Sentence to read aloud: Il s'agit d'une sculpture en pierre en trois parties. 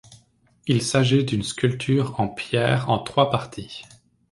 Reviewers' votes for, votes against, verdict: 2, 1, accepted